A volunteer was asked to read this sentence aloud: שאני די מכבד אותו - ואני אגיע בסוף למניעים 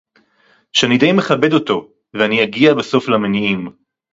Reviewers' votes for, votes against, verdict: 4, 0, accepted